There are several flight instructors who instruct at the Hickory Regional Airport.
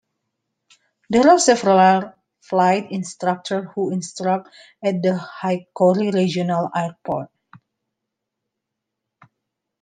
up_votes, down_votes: 2, 1